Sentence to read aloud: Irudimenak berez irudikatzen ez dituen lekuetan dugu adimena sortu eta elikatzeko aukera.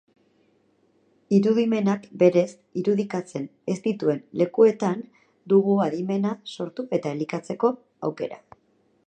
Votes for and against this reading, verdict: 4, 0, accepted